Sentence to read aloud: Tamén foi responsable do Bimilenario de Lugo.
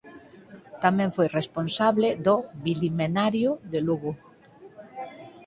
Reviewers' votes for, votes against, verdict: 2, 4, rejected